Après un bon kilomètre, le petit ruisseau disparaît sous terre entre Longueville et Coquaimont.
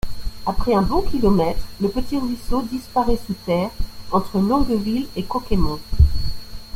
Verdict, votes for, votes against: accepted, 2, 0